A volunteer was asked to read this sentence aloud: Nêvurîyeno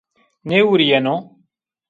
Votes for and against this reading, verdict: 2, 1, accepted